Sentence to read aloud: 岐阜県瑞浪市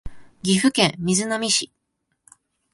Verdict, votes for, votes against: accepted, 2, 0